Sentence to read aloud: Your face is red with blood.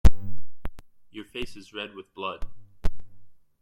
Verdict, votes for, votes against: accepted, 2, 1